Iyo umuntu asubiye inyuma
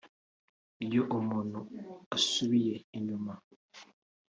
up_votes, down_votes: 3, 0